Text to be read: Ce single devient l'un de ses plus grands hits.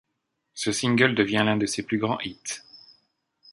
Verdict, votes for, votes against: accepted, 2, 0